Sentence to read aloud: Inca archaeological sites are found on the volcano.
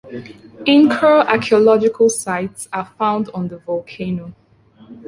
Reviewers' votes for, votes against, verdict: 1, 2, rejected